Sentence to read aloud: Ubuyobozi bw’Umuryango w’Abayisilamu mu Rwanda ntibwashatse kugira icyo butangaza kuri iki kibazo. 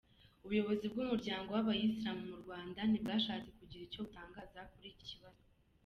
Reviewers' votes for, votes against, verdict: 2, 0, accepted